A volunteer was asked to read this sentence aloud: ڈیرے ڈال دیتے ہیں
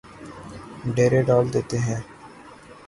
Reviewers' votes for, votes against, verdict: 3, 0, accepted